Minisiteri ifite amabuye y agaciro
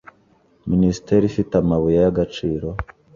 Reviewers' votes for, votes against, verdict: 2, 0, accepted